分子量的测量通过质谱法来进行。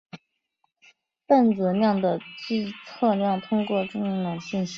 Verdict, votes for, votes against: rejected, 3, 6